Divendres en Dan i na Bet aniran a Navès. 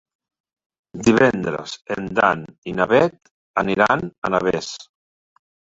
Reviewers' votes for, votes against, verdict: 3, 0, accepted